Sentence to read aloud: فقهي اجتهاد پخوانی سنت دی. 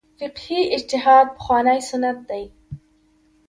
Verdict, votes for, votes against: accepted, 2, 0